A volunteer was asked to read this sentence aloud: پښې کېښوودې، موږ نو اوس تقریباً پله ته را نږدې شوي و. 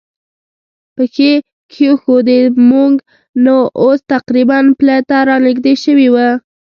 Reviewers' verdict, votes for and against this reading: accepted, 2, 0